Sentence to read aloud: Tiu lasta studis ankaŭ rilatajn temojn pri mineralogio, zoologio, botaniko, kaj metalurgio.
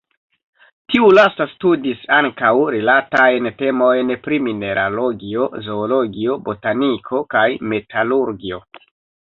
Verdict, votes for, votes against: rejected, 0, 2